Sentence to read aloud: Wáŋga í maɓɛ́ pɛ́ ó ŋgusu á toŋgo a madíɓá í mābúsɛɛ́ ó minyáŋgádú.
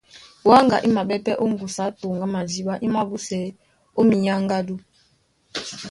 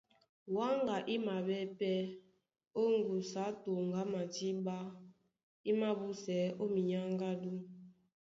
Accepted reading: second